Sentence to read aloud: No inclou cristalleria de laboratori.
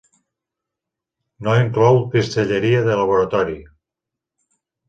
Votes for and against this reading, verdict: 1, 2, rejected